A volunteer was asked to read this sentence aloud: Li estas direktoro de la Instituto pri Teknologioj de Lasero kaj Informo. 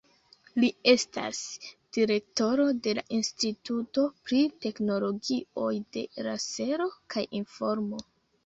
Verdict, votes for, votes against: accepted, 2, 1